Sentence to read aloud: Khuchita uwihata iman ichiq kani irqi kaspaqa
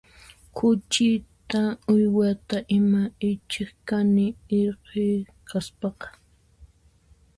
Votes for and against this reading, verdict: 1, 2, rejected